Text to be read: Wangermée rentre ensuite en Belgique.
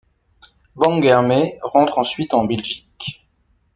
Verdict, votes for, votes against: accepted, 2, 0